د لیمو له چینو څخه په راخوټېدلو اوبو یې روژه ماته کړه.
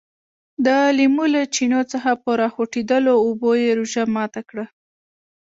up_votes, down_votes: 1, 2